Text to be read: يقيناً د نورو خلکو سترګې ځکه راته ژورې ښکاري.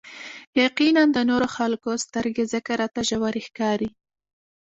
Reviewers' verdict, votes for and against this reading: accepted, 2, 0